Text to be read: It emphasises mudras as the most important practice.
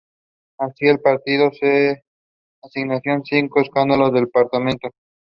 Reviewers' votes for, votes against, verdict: 0, 2, rejected